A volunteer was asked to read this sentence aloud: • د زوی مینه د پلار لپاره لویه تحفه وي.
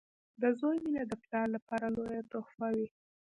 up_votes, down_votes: 3, 0